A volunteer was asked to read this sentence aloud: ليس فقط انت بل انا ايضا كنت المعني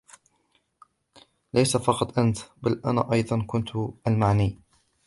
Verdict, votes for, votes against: accepted, 2, 0